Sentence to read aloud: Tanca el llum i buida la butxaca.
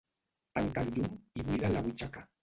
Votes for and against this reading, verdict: 1, 2, rejected